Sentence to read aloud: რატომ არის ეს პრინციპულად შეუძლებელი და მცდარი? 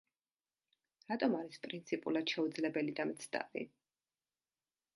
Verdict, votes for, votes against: rejected, 0, 2